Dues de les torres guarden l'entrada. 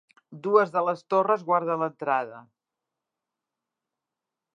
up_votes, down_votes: 3, 0